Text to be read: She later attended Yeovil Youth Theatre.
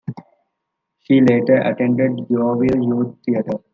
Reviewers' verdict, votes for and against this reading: accepted, 2, 0